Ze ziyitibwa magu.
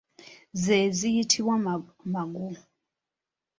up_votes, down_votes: 1, 2